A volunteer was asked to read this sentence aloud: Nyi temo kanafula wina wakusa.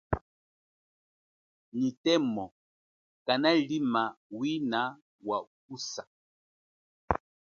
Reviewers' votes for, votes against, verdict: 2, 3, rejected